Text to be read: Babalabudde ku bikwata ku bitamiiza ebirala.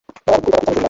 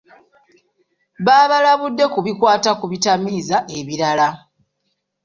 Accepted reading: second